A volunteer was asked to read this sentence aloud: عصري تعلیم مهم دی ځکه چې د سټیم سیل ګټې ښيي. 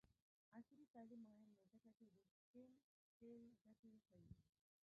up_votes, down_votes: 0, 2